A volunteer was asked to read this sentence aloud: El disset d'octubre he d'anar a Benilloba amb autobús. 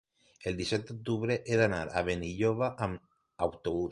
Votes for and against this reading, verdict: 2, 0, accepted